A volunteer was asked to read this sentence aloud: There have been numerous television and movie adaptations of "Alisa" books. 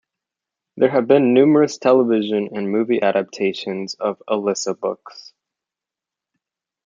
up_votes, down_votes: 2, 0